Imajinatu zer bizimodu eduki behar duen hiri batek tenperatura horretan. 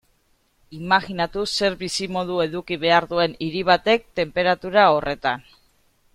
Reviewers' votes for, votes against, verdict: 3, 0, accepted